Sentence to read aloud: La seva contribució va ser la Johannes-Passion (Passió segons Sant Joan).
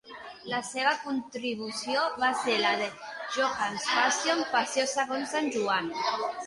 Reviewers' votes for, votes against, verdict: 1, 2, rejected